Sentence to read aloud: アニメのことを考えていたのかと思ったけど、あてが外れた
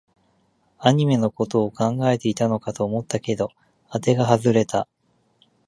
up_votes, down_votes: 2, 0